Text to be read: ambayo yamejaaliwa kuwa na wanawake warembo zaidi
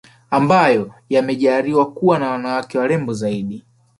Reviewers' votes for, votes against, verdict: 0, 2, rejected